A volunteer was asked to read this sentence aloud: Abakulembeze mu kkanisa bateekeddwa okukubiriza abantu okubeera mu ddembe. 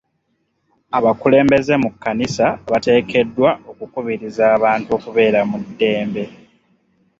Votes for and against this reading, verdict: 2, 0, accepted